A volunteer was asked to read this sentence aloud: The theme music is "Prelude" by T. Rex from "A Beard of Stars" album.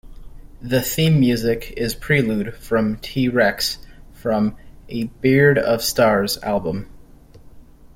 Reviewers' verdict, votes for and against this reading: accepted, 2, 0